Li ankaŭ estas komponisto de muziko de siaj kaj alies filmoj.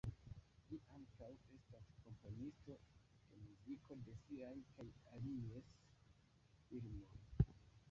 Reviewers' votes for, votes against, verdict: 1, 2, rejected